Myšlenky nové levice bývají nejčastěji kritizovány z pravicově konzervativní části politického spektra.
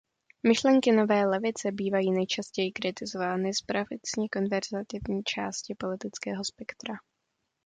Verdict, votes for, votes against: rejected, 1, 2